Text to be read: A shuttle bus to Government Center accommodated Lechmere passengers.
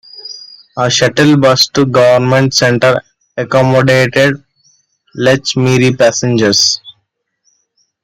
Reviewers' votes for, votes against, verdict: 2, 0, accepted